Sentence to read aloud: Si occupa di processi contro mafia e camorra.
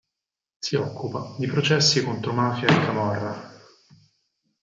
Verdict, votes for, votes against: rejected, 0, 4